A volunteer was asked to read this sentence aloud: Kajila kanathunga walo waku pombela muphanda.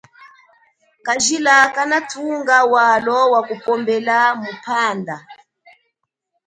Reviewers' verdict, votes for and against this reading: rejected, 2, 3